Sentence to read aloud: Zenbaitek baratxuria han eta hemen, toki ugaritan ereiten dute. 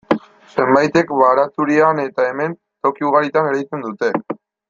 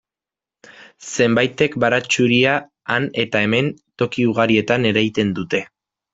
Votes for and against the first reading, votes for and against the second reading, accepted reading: 2, 0, 1, 2, first